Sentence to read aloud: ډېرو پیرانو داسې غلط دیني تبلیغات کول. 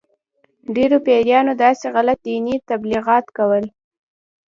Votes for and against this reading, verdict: 2, 0, accepted